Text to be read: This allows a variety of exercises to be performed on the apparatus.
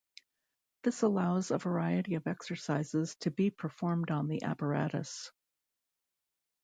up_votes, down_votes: 2, 0